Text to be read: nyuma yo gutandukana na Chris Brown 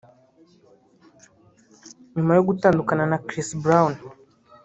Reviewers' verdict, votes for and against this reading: rejected, 0, 2